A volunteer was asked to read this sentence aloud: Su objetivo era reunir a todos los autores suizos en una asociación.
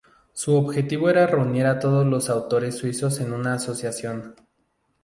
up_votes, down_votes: 4, 0